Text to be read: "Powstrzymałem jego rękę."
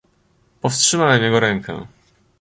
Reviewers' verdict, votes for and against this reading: accepted, 2, 0